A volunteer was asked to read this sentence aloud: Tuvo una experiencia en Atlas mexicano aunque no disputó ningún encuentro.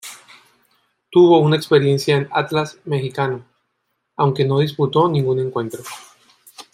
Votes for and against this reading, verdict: 1, 2, rejected